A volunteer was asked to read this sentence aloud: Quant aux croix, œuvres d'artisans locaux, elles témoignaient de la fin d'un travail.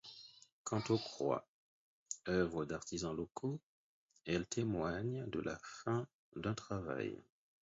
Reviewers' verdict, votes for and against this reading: rejected, 2, 4